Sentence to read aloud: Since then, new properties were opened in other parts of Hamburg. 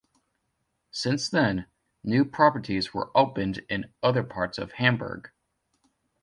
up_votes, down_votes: 2, 0